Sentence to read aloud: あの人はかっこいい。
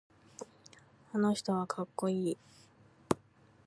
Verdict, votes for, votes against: accepted, 2, 0